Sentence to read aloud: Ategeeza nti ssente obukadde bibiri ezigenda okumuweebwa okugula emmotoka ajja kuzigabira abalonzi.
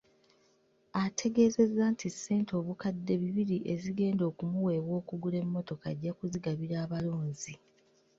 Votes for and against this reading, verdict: 0, 2, rejected